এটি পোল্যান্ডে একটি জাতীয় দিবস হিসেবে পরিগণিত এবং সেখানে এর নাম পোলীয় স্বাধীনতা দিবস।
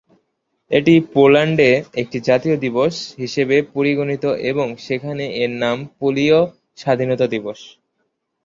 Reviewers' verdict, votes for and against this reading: accepted, 2, 0